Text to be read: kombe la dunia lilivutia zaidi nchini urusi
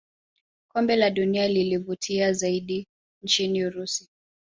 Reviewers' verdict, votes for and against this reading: accepted, 2, 0